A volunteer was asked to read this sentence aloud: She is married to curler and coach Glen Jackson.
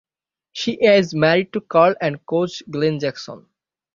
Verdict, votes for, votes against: rejected, 0, 6